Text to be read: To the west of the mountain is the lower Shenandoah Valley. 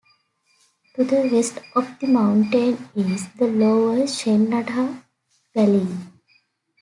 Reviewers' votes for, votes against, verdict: 2, 1, accepted